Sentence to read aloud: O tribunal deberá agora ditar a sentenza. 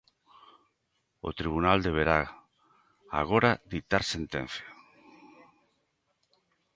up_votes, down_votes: 1, 2